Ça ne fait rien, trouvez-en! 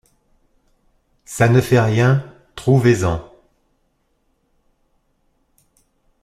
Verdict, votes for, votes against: accepted, 2, 0